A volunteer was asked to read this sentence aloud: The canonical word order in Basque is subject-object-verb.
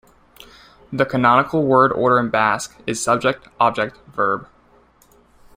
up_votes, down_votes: 0, 2